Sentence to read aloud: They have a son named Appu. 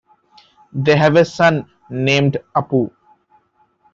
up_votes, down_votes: 2, 0